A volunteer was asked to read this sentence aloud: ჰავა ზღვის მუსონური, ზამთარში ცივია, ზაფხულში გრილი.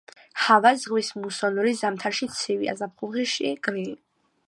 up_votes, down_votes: 0, 2